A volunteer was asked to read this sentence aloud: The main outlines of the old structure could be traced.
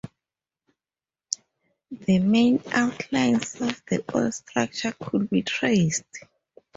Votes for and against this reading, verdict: 2, 0, accepted